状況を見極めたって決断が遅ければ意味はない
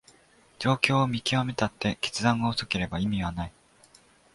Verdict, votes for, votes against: accepted, 2, 0